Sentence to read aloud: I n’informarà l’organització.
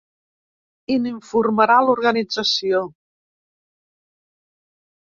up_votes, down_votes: 2, 0